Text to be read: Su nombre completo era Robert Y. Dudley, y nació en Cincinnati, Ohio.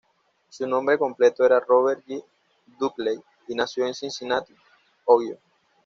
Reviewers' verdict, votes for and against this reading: accepted, 2, 0